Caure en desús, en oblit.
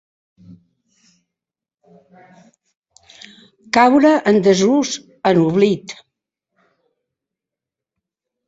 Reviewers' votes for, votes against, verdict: 2, 1, accepted